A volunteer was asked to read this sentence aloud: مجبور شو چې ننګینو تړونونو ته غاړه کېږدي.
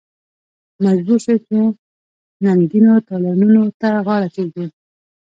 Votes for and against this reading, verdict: 1, 2, rejected